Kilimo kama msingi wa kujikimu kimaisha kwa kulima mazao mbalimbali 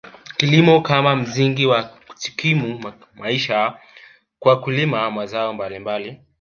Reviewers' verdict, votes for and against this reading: accepted, 2, 0